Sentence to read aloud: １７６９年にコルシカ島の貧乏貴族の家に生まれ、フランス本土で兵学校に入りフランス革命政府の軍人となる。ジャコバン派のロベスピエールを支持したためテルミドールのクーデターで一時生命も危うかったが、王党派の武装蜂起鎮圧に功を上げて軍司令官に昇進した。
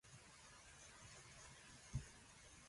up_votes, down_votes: 0, 2